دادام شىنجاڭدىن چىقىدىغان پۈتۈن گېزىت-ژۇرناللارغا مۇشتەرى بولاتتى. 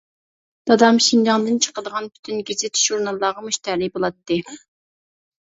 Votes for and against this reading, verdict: 1, 2, rejected